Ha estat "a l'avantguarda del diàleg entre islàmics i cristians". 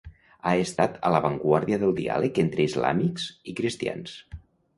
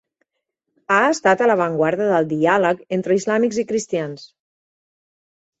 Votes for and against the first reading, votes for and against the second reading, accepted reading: 0, 2, 4, 0, second